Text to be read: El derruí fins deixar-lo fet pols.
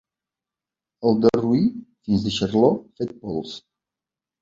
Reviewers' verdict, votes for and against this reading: accepted, 4, 1